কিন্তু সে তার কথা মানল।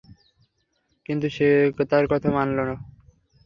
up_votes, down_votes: 0, 3